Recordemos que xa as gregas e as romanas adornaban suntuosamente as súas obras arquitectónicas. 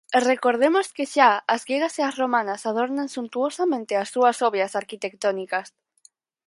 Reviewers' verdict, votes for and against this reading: rejected, 0, 4